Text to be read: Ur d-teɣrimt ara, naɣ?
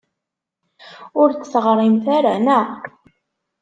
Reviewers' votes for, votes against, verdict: 2, 0, accepted